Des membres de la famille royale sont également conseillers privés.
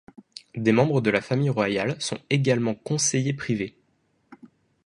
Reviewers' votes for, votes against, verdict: 2, 0, accepted